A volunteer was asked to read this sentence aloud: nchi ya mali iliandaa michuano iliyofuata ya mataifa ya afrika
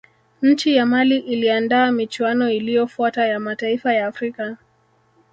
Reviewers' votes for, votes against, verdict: 1, 2, rejected